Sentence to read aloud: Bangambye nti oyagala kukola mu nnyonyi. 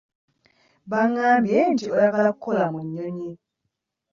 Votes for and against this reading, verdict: 0, 2, rejected